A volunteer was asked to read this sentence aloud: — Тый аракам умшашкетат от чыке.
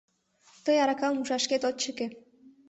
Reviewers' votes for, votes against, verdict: 1, 2, rejected